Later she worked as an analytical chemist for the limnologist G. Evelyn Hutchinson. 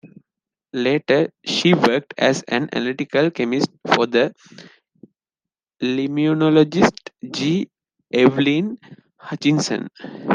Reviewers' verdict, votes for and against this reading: rejected, 0, 2